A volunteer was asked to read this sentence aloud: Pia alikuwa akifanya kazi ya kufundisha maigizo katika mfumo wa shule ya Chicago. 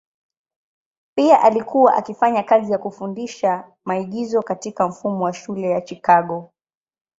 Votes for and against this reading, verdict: 2, 0, accepted